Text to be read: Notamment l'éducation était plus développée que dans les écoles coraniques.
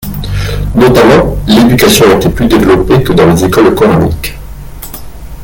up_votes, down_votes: 1, 2